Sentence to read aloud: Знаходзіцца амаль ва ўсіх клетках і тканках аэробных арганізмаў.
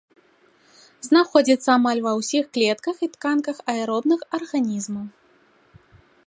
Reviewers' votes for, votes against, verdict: 2, 0, accepted